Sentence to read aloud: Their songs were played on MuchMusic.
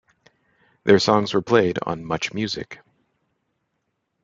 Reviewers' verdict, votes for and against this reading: accepted, 2, 1